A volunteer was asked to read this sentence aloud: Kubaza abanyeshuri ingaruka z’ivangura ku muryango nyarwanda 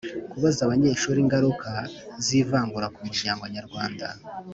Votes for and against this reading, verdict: 2, 0, accepted